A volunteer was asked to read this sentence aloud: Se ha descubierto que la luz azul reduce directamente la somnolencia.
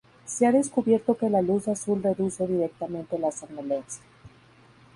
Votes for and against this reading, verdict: 0, 2, rejected